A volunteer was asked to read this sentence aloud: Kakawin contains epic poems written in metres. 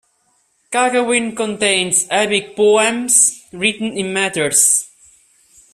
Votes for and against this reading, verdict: 2, 0, accepted